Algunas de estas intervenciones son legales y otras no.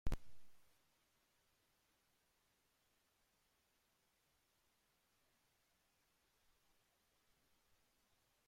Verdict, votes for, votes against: rejected, 0, 2